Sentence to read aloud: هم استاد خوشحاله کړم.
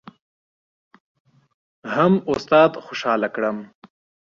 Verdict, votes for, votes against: accepted, 2, 0